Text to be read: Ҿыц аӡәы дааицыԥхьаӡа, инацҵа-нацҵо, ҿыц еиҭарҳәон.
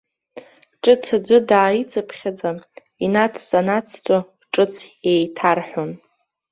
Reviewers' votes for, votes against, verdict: 2, 0, accepted